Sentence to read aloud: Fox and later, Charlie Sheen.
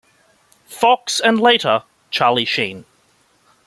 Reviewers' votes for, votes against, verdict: 2, 0, accepted